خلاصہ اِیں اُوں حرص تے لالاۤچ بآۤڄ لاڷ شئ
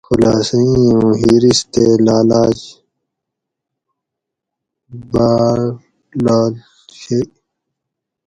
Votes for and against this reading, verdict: 2, 2, rejected